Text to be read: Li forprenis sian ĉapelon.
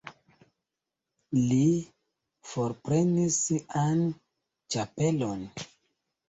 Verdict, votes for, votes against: rejected, 0, 2